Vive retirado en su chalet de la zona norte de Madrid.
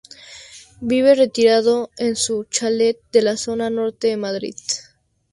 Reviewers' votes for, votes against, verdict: 8, 0, accepted